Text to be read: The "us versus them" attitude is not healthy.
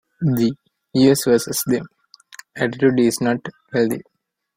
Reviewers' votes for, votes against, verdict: 0, 2, rejected